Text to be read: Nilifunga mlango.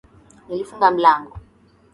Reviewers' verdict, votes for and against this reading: accepted, 2, 0